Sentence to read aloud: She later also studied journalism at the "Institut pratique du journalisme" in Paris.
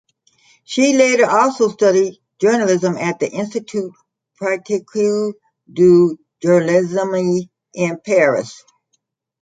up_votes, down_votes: 0, 4